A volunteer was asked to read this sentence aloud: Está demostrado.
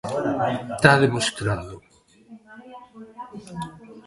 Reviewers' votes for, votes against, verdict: 0, 2, rejected